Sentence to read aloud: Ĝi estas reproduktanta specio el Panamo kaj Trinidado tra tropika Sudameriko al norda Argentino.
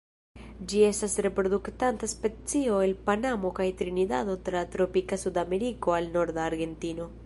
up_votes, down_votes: 1, 2